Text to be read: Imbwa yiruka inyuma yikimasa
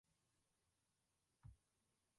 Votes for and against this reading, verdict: 0, 2, rejected